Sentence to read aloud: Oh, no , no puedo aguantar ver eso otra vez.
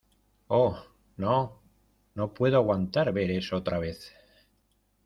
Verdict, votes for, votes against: accepted, 2, 0